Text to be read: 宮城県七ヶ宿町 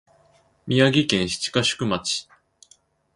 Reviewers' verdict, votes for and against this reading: accepted, 2, 0